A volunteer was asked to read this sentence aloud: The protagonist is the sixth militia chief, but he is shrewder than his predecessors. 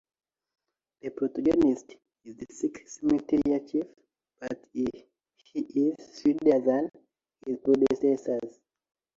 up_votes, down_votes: 1, 2